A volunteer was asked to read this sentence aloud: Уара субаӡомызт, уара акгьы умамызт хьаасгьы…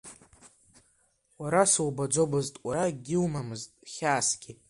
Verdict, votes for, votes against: accepted, 2, 1